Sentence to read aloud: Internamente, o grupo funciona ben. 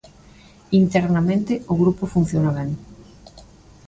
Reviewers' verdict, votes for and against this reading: accepted, 3, 0